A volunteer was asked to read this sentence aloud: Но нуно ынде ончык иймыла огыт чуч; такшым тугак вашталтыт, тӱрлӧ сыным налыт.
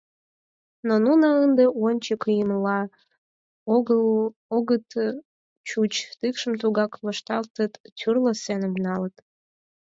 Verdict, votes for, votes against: rejected, 0, 4